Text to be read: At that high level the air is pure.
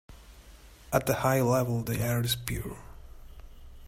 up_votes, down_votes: 1, 2